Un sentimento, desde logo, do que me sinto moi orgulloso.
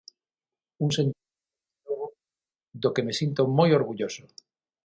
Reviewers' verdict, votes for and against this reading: rejected, 0, 6